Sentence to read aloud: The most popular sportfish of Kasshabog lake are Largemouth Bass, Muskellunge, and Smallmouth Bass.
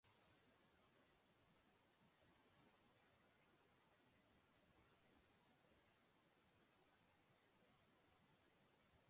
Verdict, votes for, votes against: rejected, 0, 2